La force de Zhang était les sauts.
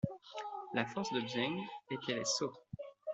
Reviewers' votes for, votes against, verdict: 2, 0, accepted